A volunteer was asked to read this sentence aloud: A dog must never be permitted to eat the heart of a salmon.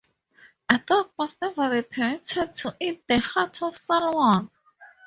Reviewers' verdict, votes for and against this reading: rejected, 0, 2